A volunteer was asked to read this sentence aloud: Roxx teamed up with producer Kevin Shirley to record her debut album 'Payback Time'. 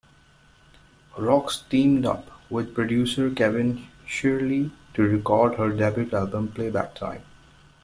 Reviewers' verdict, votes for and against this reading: rejected, 1, 2